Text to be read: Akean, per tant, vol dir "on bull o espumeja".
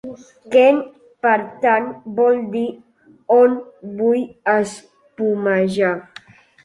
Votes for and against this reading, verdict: 0, 2, rejected